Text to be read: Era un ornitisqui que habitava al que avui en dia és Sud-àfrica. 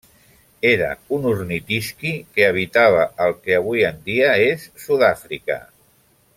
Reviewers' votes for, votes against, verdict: 2, 0, accepted